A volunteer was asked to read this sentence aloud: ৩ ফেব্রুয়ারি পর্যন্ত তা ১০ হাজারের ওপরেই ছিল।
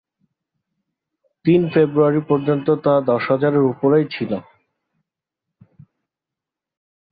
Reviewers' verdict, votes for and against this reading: rejected, 0, 2